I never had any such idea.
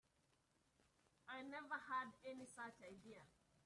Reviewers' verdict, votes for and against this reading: rejected, 1, 2